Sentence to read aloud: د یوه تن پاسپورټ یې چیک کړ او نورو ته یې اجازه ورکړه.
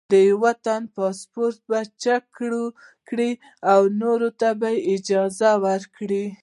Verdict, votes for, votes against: rejected, 0, 2